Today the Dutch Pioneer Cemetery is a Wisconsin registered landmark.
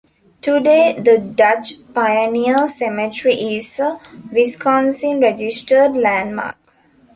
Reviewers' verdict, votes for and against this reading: accepted, 2, 0